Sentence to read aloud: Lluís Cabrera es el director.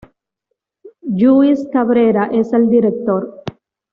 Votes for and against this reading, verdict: 2, 0, accepted